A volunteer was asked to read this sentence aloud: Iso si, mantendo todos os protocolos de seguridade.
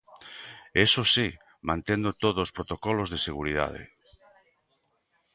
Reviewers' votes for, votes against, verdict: 0, 2, rejected